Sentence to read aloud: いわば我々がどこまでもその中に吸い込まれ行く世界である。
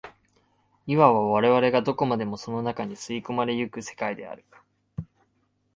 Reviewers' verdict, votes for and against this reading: rejected, 2, 3